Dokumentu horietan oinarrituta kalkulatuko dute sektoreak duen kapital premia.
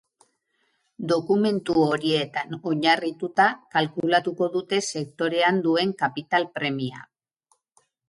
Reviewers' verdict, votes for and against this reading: rejected, 0, 4